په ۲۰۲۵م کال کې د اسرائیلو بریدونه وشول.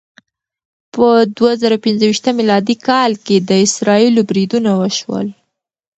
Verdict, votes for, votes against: rejected, 0, 2